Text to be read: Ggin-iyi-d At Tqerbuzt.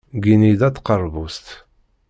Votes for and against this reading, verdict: 1, 2, rejected